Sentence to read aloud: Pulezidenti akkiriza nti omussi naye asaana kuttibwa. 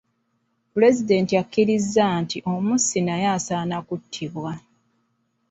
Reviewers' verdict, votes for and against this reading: accepted, 2, 0